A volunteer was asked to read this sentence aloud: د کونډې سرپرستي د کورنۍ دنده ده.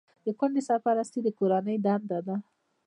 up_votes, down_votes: 0, 2